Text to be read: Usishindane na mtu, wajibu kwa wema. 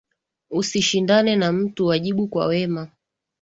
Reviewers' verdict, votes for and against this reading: accepted, 8, 2